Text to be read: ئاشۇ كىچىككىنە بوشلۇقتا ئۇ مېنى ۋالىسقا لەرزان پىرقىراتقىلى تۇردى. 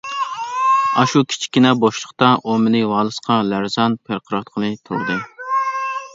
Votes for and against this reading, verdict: 2, 1, accepted